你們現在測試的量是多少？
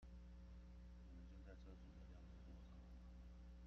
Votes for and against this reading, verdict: 0, 2, rejected